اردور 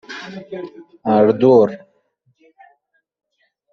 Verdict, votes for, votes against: rejected, 1, 2